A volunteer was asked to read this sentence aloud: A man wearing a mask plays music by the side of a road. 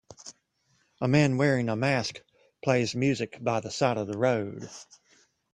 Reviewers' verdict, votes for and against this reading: rejected, 1, 2